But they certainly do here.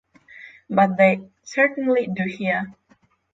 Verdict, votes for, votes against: rejected, 3, 3